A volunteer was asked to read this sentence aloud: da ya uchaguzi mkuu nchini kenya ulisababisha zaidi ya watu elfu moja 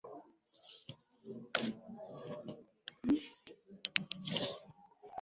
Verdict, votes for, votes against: rejected, 0, 4